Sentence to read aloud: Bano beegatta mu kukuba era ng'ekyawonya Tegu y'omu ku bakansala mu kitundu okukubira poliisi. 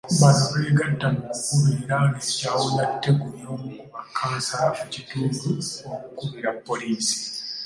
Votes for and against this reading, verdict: 1, 2, rejected